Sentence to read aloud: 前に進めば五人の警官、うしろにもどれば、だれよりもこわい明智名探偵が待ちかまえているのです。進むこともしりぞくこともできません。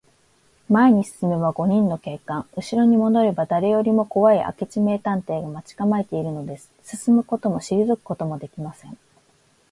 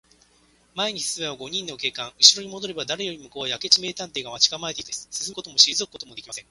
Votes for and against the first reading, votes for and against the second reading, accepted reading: 2, 0, 0, 2, first